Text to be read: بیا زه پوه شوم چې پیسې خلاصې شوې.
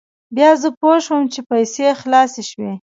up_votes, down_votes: 0, 2